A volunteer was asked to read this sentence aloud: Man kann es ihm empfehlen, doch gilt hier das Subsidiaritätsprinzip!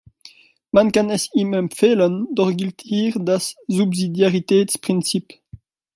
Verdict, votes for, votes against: rejected, 1, 2